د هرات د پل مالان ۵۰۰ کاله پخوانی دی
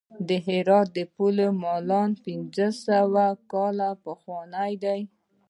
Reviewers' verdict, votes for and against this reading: rejected, 0, 2